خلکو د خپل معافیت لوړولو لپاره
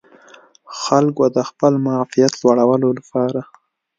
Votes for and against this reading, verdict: 2, 0, accepted